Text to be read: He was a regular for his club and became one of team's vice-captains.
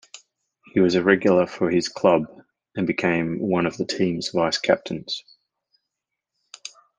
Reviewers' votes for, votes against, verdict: 1, 2, rejected